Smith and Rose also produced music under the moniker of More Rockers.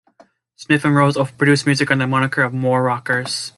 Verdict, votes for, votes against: rejected, 0, 2